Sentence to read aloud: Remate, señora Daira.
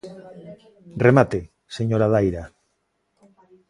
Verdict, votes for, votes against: accepted, 2, 0